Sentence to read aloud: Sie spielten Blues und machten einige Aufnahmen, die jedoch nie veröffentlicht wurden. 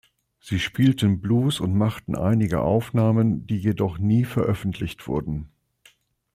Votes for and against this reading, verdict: 2, 0, accepted